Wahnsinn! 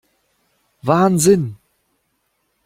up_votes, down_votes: 2, 0